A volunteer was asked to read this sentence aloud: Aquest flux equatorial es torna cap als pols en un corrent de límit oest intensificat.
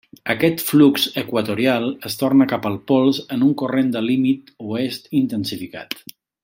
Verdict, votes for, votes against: rejected, 1, 3